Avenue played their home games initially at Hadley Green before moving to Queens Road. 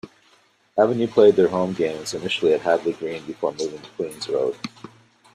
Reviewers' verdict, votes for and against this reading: accepted, 2, 0